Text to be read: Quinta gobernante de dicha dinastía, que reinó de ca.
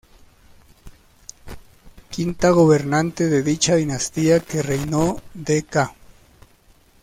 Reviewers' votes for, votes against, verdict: 2, 0, accepted